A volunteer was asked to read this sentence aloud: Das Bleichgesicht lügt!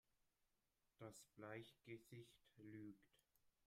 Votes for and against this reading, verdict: 1, 2, rejected